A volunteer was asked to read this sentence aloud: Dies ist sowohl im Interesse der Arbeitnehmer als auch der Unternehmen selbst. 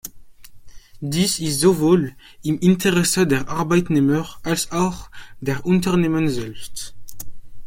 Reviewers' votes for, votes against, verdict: 2, 0, accepted